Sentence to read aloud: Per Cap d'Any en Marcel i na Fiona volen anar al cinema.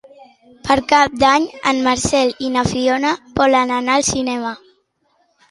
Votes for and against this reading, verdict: 3, 0, accepted